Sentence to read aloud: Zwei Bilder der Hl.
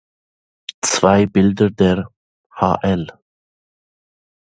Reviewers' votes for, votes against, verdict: 1, 2, rejected